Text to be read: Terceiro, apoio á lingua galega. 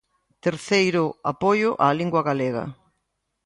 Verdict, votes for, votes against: accepted, 2, 0